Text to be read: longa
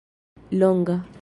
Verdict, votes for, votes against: accepted, 2, 0